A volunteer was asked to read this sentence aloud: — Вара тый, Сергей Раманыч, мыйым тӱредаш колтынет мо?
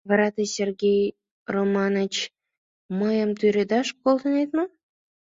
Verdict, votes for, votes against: rejected, 3, 5